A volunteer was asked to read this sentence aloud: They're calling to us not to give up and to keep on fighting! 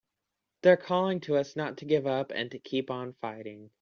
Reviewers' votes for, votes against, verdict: 2, 0, accepted